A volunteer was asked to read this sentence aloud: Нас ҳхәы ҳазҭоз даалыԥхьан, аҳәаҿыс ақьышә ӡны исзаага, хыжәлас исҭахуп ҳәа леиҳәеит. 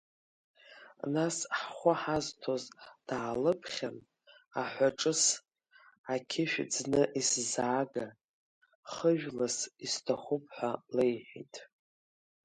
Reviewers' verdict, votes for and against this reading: rejected, 2, 3